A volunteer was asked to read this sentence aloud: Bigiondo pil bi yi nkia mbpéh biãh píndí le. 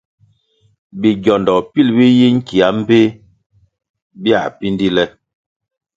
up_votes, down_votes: 2, 0